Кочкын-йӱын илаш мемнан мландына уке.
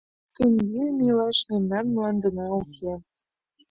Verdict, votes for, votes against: accepted, 2, 1